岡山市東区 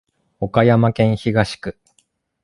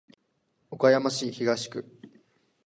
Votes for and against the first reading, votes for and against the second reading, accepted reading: 0, 2, 3, 0, second